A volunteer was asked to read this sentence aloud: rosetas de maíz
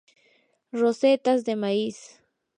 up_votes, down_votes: 0, 4